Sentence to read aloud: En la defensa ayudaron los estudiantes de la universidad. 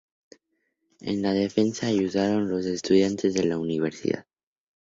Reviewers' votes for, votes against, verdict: 4, 0, accepted